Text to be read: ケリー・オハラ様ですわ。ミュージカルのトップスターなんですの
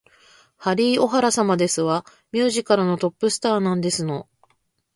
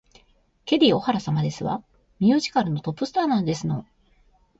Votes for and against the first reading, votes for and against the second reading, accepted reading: 1, 2, 2, 0, second